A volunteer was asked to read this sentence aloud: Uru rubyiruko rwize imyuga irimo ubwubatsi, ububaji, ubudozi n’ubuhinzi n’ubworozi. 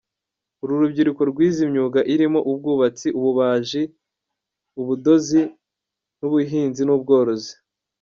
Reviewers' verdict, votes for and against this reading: rejected, 1, 2